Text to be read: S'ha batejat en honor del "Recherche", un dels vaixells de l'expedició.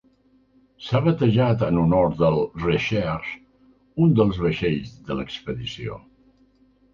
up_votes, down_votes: 1, 2